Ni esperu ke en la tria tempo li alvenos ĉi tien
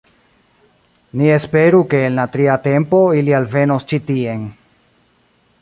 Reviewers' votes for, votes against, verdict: 1, 3, rejected